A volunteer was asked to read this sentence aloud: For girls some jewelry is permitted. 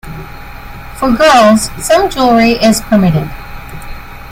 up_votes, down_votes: 2, 1